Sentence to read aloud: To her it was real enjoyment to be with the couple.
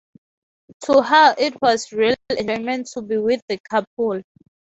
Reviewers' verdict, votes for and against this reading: rejected, 0, 4